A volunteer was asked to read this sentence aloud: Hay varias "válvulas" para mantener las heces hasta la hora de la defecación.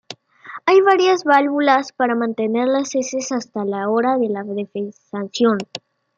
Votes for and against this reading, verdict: 2, 3, rejected